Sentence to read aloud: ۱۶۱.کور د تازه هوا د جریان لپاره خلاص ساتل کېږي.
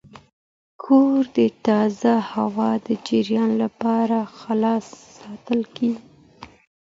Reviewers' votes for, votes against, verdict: 0, 2, rejected